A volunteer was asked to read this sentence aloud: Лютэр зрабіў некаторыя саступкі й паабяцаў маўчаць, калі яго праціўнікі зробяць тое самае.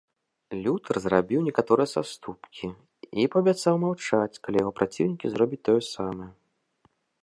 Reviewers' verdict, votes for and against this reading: accepted, 2, 0